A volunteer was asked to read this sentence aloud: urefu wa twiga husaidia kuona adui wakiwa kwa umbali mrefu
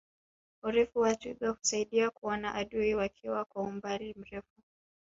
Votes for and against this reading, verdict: 3, 0, accepted